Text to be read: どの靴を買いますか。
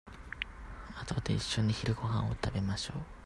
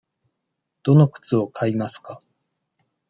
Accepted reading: second